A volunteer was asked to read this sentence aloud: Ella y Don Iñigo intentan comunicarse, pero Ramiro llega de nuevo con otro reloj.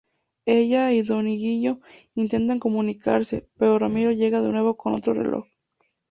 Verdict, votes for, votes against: rejected, 0, 2